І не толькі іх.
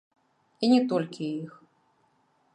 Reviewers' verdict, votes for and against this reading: rejected, 0, 2